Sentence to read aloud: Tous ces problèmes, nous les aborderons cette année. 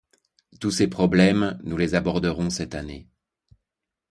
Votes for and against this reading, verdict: 2, 0, accepted